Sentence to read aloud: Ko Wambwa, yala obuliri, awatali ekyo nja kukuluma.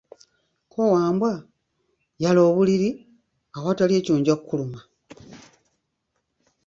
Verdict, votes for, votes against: rejected, 1, 2